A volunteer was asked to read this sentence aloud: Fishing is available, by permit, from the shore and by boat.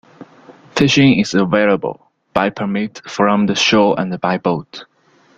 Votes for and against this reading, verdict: 1, 2, rejected